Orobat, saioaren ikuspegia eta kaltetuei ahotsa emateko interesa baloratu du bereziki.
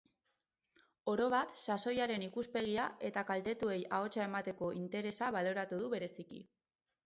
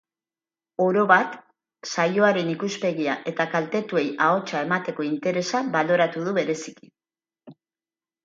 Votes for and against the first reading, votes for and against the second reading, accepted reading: 0, 4, 6, 0, second